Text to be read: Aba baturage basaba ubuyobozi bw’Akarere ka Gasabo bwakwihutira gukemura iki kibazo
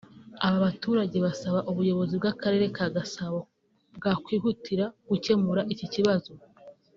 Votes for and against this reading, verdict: 2, 0, accepted